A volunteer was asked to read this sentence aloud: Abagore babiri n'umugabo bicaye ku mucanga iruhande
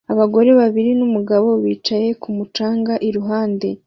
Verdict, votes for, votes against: accepted, 2, 0